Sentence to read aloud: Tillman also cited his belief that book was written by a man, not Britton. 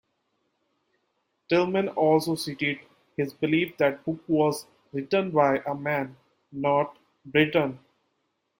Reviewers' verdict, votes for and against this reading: rejected, 0, 2